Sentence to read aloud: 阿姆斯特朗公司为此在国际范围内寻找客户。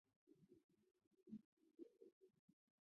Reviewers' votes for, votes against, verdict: 0, 3, rejected